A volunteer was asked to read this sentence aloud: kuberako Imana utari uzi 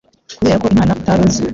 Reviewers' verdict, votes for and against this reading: rejected, 1, 2